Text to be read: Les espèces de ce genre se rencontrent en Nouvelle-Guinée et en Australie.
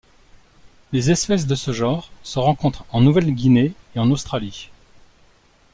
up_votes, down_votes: 2, 0